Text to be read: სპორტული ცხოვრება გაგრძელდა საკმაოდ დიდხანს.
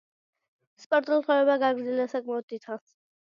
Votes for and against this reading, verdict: 0, 2, rejected